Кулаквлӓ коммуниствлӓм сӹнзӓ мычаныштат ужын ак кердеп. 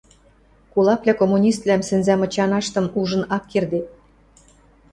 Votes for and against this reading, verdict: 1, 2, rejected